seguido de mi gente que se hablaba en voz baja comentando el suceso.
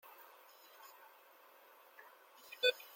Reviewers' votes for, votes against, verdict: 0, 2, rejected